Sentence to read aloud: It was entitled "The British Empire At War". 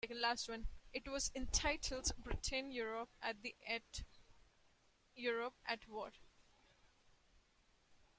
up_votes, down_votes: 0, 2